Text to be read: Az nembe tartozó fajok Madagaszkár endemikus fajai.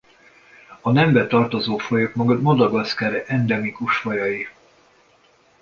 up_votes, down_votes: 0, 2